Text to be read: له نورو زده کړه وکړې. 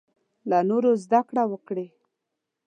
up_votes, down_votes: 2, 0